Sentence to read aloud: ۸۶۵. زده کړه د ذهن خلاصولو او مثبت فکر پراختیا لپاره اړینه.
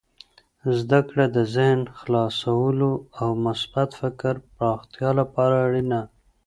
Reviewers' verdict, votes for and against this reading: rejected, 0, 2